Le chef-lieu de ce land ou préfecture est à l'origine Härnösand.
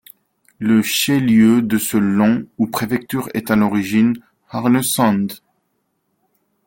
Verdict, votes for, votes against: rejected, 0, 2